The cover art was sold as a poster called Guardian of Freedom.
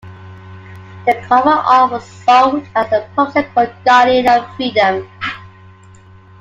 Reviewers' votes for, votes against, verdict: 0, 2, rejected